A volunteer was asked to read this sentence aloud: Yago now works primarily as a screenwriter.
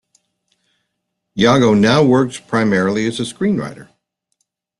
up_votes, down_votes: 2, 0